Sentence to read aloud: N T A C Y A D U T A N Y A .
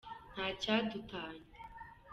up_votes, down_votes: 3, 0